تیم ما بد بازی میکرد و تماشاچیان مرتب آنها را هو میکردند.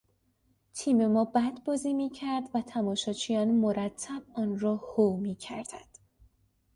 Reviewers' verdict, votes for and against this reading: rejected, 0, 2